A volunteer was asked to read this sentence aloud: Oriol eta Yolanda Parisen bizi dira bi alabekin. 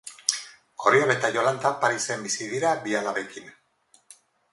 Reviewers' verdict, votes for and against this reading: accepted, 4, 0